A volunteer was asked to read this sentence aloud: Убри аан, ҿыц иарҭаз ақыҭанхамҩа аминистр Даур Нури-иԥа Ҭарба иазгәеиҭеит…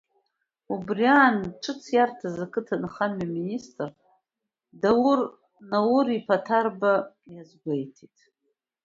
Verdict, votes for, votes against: accepted, 2, 1